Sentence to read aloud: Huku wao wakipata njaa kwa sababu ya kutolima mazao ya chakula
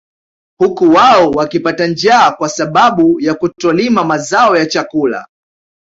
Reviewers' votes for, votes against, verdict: 2, 1, accepted